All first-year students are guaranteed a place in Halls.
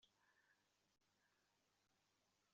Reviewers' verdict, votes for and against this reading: rejected, 0, 2